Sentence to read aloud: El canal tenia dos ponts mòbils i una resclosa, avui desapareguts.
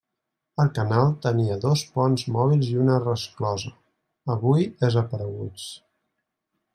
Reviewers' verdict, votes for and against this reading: accepted, 2, 0